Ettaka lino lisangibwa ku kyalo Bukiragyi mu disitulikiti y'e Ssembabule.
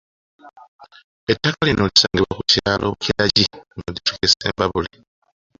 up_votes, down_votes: 3, 2